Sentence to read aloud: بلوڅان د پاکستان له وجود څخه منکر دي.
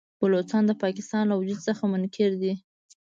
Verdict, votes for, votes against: accepted, 2, 0